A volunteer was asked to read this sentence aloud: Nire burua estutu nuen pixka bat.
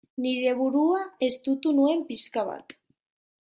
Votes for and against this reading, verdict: 1, 2, rejected